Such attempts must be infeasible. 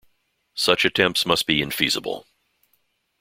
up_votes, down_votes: 2, 0